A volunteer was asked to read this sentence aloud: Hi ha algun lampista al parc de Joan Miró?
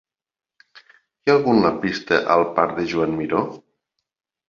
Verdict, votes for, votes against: accepted, 2, 0